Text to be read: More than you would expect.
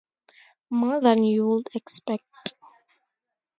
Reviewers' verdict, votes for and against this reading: accepted, 4, 0